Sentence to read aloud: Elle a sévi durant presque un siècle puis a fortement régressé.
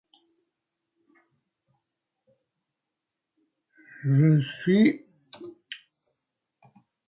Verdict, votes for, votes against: rejected, 0, 2